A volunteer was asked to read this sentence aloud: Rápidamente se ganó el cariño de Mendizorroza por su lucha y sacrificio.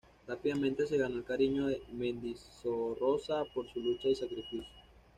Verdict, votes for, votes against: rejected, 1, 2